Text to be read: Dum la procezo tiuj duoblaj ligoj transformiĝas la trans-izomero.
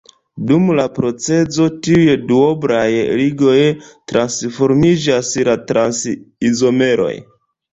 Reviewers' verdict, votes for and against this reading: rejected, 0, 2